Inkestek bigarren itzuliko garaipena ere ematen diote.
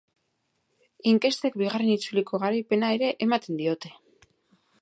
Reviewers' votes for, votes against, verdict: 2, 0, accepted